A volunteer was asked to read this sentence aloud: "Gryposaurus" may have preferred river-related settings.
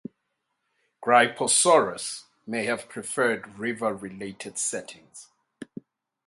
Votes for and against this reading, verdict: 8, 0, accepted